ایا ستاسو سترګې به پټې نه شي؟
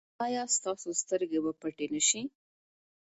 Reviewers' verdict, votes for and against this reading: accepted, 2, 0